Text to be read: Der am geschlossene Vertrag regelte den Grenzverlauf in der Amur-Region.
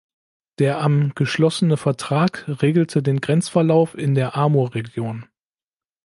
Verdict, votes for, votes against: accepted, 2, 0